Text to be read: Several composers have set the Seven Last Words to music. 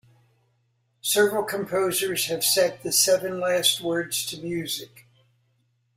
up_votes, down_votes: 2, 0